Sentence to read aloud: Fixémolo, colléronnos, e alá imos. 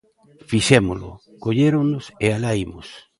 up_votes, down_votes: 2, 0